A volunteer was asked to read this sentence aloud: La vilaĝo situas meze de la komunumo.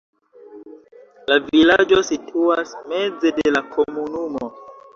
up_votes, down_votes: 2, 1